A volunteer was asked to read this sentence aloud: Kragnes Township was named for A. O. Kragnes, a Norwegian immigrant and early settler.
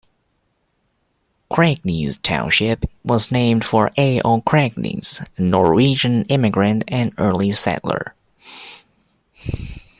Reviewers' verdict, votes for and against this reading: accepted, 2, 0